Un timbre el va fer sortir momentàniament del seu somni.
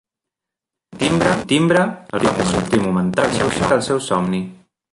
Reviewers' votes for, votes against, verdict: 0, 2, rejected